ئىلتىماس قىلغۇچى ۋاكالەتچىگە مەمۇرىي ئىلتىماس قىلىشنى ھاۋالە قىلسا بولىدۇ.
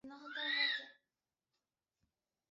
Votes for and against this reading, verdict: 0, 2, rejected